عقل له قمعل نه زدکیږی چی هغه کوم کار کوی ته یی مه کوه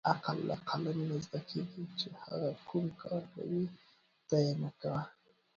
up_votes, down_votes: 1, 2